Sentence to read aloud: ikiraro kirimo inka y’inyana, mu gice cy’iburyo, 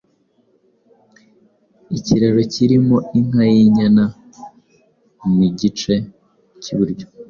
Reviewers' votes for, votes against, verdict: 2, 0, accepted